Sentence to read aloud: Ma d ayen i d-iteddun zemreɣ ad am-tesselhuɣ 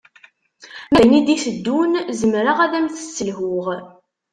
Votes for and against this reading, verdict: 1, 2, rejected